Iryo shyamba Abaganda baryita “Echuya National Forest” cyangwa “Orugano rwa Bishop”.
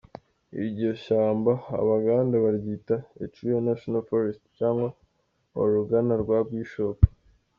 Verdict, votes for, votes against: accepted, 2, 1